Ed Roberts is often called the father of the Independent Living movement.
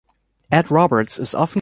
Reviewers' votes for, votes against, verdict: 0, 2, rejected